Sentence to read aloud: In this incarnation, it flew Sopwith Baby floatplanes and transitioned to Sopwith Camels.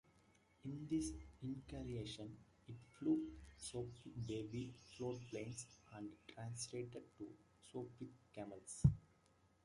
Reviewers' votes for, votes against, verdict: 1, 2, rejected